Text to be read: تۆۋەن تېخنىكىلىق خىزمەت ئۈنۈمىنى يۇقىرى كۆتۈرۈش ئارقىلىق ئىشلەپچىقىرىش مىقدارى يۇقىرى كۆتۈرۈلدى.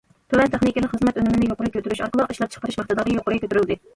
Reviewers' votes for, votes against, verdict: 0, 2, rejected